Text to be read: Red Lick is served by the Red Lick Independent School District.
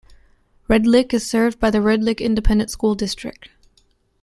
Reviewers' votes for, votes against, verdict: 2, 0, accepted